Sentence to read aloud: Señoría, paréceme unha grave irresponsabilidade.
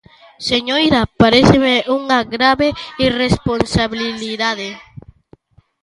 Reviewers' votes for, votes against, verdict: 2, 1, accepted